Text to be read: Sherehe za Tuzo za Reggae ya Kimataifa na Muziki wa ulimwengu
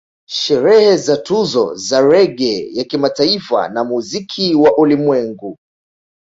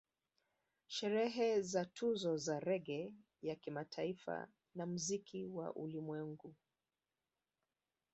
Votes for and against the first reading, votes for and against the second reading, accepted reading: 2, 0, 1, 2, first